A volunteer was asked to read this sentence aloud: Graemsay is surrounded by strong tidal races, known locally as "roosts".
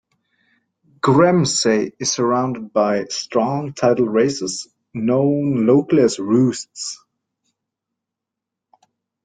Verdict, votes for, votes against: accepted, 2, 0